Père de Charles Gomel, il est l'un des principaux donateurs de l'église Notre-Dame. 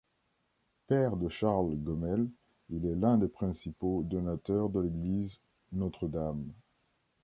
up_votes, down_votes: 2, 1